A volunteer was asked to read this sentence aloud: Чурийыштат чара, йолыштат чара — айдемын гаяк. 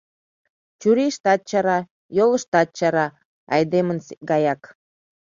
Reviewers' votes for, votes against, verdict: 1, 2, rejected